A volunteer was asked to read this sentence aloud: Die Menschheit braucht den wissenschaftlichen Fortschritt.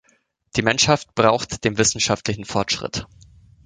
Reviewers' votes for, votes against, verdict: 1, 2, rejected